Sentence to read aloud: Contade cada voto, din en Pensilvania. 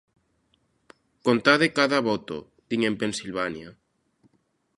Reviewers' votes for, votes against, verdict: 2, 0, accepted